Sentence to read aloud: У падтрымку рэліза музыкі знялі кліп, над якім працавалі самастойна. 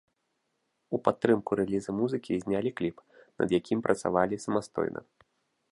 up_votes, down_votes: 1, 2